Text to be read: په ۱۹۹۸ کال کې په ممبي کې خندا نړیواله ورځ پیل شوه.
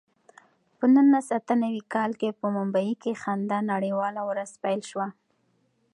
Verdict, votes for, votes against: rejected, 0, 2